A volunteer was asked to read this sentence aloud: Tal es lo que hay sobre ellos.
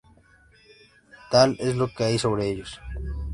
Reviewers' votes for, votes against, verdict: 2, 0, accepted